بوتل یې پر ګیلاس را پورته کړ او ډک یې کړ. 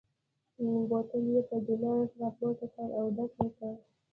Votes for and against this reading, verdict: 2, 0, accepted